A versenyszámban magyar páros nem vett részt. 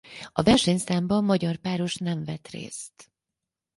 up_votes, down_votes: 4, 2